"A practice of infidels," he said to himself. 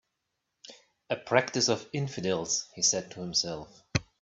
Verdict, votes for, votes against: accepted, 3, 0